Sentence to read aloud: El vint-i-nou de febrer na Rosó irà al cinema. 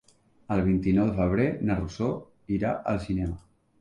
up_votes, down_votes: 3, 0